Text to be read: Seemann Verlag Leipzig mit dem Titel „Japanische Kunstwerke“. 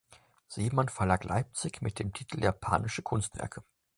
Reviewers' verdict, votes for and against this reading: accepted, 2, 0